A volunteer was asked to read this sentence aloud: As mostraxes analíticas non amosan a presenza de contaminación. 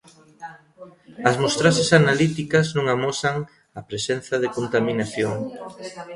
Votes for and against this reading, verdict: 0, 2, rejected